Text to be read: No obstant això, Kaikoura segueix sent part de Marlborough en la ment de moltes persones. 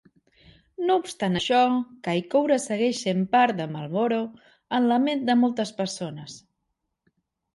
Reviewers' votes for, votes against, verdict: 2, 0, accepted